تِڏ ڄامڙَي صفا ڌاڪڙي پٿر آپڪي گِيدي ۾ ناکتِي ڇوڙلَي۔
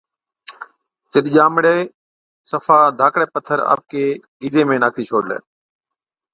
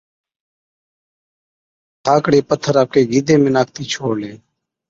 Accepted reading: first